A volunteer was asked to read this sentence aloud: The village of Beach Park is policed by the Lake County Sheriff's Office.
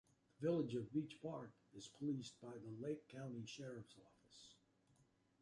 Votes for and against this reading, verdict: 2, 0, accepted